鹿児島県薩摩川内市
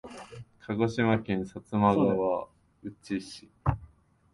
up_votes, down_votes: 3, 0